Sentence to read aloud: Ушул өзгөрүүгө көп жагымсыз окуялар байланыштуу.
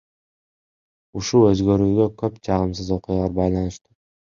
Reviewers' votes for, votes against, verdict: 1, 2, rejected